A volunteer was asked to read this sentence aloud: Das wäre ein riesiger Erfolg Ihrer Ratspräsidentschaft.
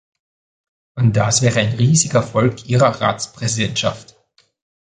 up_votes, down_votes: 1, 2